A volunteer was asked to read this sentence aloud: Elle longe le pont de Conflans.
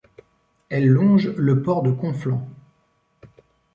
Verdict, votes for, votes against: rejected, 1, 2